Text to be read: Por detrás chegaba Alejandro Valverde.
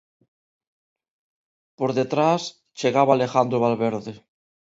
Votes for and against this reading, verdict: 2, 0, accepted